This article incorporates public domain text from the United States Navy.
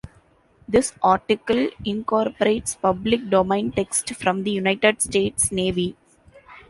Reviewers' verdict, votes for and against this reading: accepted, 2, 0